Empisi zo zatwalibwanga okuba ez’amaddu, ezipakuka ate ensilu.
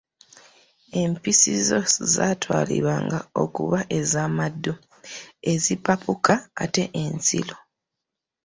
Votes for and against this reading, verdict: 2, 1, accepted